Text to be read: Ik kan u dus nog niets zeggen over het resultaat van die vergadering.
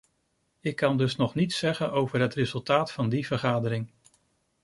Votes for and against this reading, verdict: 0, 2, rejected